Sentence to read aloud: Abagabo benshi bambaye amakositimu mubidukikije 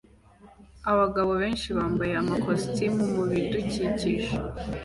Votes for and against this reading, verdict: 2, 0, accepted